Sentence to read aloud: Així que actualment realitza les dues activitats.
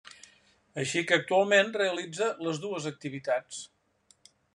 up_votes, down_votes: 3, 0